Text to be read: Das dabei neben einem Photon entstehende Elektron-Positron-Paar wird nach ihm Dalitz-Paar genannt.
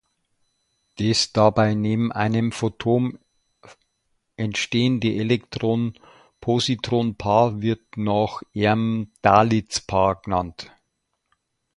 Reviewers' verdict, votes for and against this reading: rejected, 0, 2